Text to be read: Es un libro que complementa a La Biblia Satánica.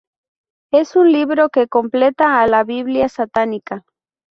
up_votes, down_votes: 0, 2